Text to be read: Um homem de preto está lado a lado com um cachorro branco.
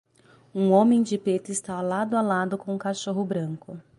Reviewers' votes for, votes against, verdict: 0, 3, rejected